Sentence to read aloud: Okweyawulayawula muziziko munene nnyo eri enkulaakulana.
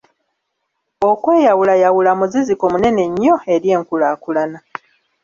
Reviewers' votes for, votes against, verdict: 3, 0, accepted